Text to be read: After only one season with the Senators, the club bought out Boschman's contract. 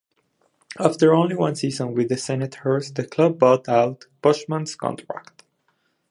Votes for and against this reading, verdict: 2, 0, accepted